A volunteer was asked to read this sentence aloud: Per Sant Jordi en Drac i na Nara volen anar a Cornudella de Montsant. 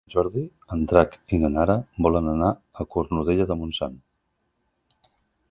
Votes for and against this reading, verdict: 1, 2, rejected